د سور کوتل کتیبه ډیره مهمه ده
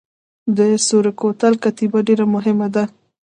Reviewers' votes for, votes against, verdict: 2, 0, accepted